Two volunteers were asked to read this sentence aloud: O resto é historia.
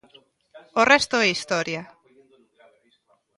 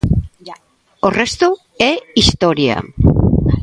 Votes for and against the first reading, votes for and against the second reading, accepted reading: 2, 0, 1, 2, first